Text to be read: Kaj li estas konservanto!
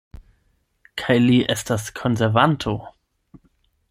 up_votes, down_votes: 4, 8